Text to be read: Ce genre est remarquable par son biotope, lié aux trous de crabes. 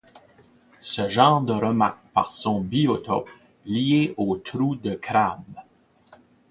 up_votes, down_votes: 0, 2